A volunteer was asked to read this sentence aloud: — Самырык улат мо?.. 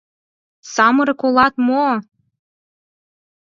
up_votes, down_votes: 4, 0